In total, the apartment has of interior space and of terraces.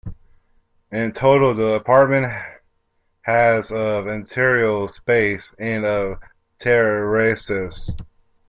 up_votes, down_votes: 0, 2